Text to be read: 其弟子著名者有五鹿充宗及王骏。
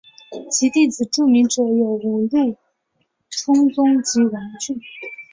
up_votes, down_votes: 3, 0